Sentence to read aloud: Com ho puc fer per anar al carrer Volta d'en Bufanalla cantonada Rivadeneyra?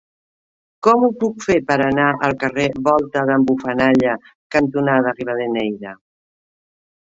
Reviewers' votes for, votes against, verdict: 2, 1, accepted